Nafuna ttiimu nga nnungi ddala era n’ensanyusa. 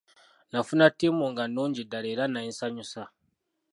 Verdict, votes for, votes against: rejected, 0, 2